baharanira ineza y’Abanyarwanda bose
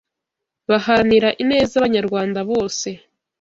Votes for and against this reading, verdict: 1, 2, rejected